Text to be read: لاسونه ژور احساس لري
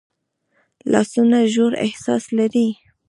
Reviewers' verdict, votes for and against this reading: rejected, 1, 2